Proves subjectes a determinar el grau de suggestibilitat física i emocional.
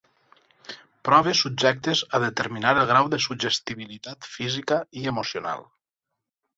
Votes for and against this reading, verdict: 6, 0, accepted